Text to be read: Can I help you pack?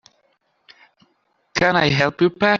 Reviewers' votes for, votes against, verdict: 1, 2, rejected